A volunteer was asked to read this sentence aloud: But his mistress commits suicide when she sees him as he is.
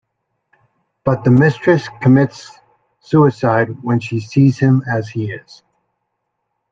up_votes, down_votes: 0, 2